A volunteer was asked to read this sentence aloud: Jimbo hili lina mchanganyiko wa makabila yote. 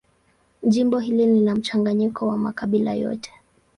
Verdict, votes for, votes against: accepted, 2, 0